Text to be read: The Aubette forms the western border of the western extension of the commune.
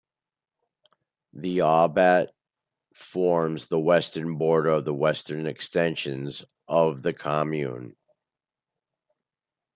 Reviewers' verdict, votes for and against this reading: rejected, 1, 2